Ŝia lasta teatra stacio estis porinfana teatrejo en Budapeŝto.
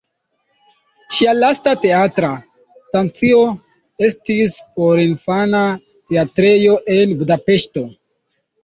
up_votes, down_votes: 2, 1